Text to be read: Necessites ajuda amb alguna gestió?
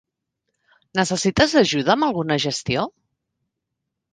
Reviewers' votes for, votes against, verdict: 4, 0, accepted